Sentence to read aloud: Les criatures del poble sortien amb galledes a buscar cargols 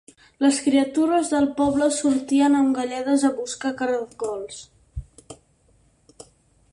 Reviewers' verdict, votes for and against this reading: rejected, 0, 4